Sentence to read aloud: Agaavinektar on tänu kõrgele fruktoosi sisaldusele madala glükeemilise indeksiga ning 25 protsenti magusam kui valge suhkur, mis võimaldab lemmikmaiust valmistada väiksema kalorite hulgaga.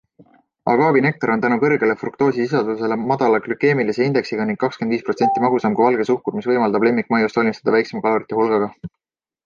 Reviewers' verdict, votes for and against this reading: rejected, 0, 2